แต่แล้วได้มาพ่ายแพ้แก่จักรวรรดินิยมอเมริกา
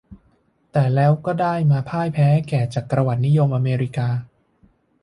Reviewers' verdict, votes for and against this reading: rejected, 0, 2